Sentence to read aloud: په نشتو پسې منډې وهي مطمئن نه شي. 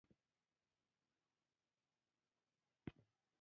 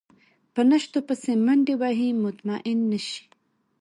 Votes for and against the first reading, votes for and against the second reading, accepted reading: 0, 2, 2, 0, second